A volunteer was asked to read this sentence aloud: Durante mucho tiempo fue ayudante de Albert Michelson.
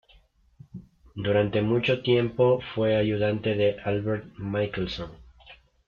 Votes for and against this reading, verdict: 2, 0, accepted